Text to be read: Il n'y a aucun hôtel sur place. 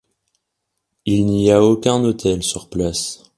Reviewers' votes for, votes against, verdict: 2, 0, accepted